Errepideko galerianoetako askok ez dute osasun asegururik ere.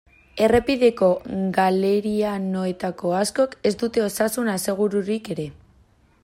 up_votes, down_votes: 2, 0